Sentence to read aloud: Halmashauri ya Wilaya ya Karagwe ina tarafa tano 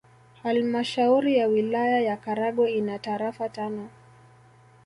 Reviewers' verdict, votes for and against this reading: accepted, 2, 0